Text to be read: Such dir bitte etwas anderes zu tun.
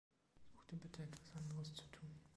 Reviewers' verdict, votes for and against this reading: rejected, 0, 2